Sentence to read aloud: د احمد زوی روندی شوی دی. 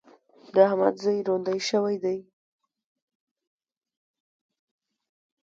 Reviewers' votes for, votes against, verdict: 0, 2, rejected